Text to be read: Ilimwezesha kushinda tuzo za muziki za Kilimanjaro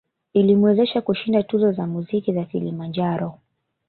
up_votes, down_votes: 0, 3